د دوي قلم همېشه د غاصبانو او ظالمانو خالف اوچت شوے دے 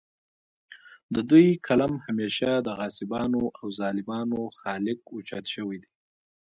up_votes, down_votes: 0, 2